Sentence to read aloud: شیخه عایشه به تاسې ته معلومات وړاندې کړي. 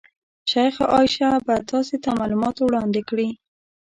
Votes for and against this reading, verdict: 1, 2, rejected